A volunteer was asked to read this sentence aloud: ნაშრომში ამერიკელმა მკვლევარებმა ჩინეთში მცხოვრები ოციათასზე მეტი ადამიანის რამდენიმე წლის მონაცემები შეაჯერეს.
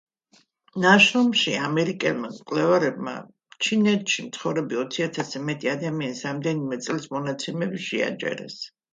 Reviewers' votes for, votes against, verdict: 2, 1, accepted